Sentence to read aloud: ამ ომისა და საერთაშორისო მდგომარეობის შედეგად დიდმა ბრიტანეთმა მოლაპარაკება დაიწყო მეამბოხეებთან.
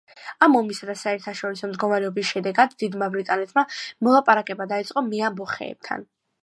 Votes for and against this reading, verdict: 2, 0, accepted